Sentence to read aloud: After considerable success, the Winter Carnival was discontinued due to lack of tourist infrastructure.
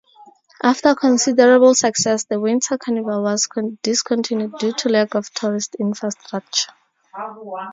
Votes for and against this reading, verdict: 0, 2, rejected